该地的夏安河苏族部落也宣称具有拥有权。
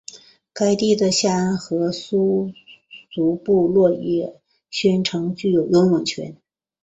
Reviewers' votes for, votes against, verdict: 4, 1, accepted